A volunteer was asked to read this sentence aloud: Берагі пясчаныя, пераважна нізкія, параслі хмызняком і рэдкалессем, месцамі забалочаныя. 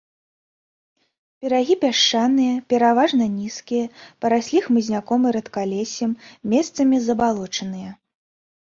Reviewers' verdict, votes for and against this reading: accepted, 2, 0